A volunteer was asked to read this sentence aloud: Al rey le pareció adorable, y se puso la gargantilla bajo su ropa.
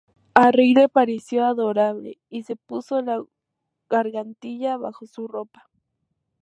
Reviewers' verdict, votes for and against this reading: rejected, 0, 2